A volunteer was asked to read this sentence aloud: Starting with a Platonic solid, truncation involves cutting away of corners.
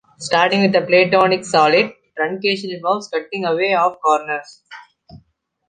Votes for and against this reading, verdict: 2, 0, accepted